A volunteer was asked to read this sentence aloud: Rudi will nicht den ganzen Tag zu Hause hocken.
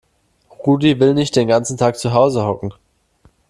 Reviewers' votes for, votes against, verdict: 2, 0, accepted